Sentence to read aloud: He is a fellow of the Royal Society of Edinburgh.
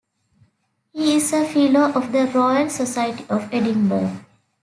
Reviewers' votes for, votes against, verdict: 2, 1, accepted